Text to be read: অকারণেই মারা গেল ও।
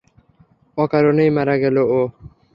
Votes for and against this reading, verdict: 3, 0, accepted